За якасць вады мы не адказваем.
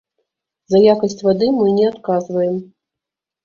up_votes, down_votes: 2, 0